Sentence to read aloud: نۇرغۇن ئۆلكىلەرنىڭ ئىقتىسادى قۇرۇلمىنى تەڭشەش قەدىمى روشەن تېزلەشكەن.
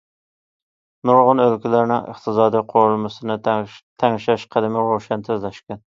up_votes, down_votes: 1, 2